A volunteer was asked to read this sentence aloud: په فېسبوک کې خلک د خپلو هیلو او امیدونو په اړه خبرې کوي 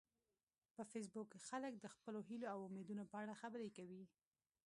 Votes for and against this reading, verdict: 0, 2, rejected